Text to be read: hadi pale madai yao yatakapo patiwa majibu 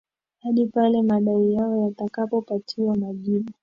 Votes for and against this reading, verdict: 2, 1, accepted